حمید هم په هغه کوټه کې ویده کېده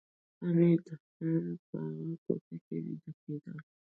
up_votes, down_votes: 0, 2